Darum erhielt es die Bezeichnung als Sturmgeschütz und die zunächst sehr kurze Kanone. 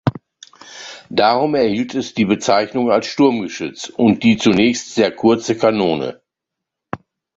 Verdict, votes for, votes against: accepted, 2, 0